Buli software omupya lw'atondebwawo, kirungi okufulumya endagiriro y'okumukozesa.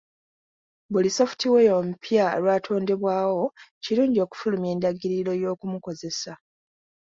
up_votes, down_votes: 2, 0